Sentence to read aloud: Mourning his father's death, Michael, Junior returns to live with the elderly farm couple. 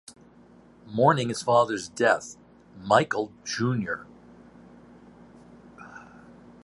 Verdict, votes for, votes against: rejected, 0, 2